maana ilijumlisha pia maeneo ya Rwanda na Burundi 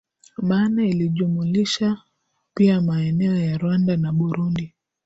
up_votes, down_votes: 3, 1